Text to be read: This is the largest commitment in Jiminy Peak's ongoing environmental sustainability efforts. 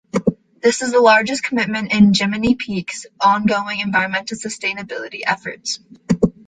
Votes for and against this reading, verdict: 2, 0, accepted